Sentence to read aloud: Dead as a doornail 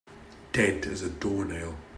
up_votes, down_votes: 2, 0